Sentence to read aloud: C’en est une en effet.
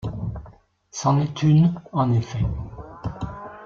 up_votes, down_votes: 1, 2